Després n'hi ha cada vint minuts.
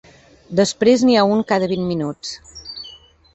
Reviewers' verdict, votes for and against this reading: rejected, 0, 3